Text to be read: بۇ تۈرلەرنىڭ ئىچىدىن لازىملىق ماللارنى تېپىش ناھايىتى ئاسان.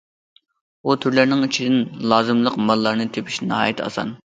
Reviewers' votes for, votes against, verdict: 2, 0, accepted